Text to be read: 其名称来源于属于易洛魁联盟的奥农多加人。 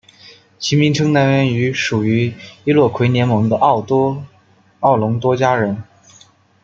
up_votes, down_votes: 0, 2